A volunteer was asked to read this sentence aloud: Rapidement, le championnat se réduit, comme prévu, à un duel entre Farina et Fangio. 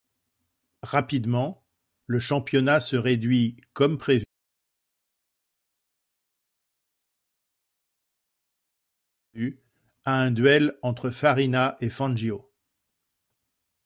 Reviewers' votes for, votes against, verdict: 0, 2, rejected